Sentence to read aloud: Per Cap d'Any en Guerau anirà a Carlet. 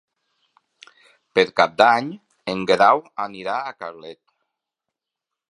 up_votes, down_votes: 5, 0